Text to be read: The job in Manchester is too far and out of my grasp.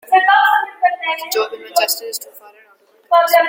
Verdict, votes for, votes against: rejected, 0, 2